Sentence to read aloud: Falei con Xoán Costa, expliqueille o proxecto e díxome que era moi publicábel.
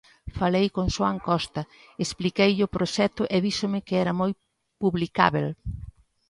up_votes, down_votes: 2, 0